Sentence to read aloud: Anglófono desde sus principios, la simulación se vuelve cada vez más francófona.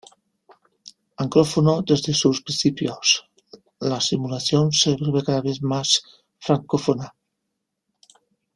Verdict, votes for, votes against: accepted, 2, 0